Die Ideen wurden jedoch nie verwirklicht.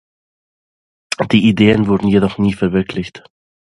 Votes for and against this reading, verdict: 2, 0, accepted